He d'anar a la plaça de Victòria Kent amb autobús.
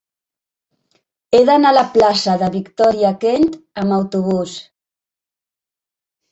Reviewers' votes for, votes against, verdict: 4, 1, accepted